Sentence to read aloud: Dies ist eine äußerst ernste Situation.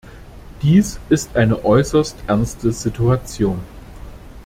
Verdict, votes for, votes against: accepted, 2, 0